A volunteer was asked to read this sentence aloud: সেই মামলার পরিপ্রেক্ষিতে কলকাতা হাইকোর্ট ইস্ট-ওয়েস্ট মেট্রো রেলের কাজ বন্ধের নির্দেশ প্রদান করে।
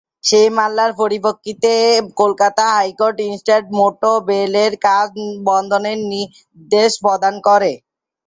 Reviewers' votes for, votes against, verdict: 0, 2, rejected